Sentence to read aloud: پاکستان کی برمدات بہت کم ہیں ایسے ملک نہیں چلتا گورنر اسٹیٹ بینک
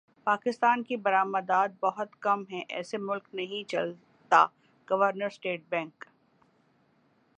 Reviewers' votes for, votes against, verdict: 1, 3, rejected